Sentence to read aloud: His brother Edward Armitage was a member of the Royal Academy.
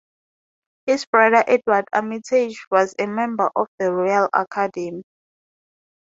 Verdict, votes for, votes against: rejected, 0, 2